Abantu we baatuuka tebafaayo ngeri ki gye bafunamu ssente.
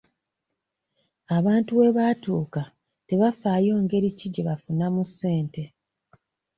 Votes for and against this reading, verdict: 2, 0, accepted